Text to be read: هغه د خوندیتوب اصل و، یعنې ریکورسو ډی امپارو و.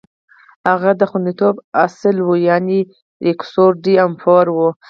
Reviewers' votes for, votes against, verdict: 4, 0, accepted